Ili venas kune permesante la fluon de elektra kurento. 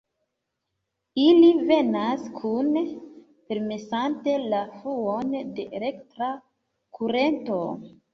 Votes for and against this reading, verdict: 0, 2, rejected